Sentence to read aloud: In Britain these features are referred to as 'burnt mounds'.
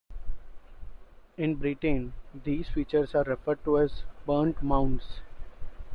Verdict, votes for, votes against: accepted, 2, 0